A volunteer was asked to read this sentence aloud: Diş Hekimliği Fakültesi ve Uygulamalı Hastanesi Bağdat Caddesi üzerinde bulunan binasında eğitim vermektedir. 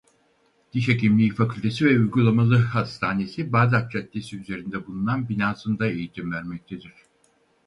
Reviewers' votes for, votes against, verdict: 2, 2, rejected